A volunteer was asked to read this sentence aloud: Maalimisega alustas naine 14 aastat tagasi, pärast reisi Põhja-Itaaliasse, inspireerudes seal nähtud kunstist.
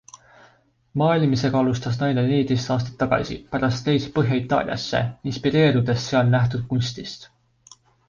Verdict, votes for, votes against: rejected, 0, 2